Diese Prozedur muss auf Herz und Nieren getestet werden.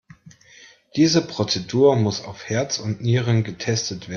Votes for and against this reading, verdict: 0, 2, rejected